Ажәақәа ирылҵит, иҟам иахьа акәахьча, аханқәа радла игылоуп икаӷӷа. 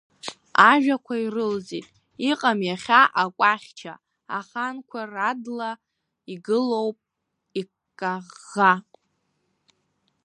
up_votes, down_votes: 1, 2